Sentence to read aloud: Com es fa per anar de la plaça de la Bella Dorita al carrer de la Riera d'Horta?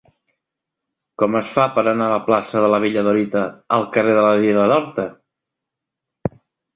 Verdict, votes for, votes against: accepted, 2, 1